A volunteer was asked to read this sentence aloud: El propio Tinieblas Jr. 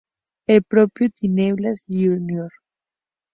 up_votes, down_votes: 0, 2